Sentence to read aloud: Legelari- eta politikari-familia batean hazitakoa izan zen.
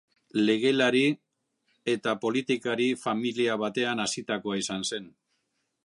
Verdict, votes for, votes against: accepted, 3, 1